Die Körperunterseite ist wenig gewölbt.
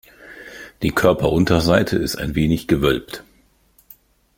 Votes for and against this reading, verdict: 0, 2, rejected